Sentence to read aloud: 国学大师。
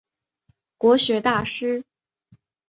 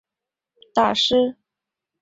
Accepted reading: first